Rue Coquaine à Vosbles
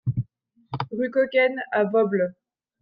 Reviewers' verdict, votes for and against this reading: accepted, 2, 0